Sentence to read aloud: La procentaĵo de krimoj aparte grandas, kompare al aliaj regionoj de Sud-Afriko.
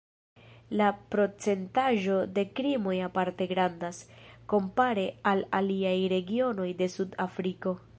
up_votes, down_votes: 1, 2